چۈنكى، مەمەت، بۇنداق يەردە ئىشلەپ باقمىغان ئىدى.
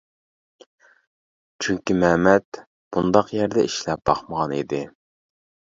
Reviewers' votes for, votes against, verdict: 2, 0, accepted